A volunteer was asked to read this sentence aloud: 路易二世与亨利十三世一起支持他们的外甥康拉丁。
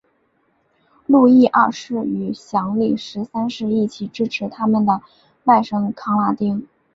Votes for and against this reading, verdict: 1, 2, rejected